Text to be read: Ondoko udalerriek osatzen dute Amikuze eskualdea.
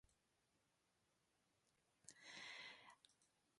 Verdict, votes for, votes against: rejected, 0, 2